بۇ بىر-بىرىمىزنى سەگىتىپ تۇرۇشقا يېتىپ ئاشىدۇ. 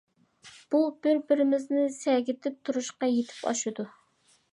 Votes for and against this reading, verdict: 2, 0, accepted